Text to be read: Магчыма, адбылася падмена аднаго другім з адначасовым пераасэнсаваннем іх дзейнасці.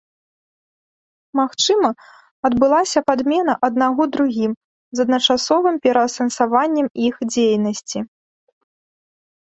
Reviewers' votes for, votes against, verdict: 2, 0, accepted